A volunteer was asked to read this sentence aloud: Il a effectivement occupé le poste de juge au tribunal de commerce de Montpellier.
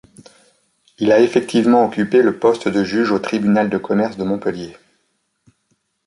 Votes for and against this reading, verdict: 2, 0, accepted